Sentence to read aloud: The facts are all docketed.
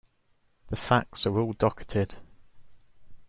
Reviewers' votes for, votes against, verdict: 2, 1, accepted